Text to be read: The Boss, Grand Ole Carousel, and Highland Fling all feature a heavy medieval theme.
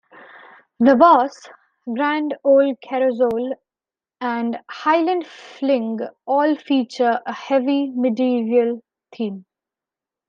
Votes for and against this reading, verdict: 1, 2, rejected